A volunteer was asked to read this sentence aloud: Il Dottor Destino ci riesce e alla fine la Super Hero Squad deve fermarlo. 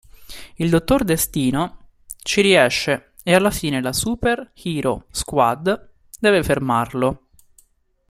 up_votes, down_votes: 2, 1